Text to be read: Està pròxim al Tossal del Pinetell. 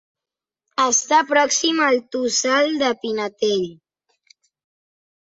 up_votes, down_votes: 0, 3